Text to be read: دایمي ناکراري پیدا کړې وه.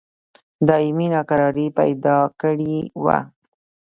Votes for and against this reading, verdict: 0, 2, rejected